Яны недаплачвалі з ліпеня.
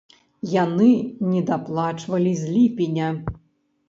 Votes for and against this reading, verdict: 2, 0, accepted